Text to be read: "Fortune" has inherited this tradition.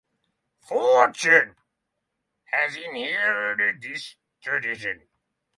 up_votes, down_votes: 6, 3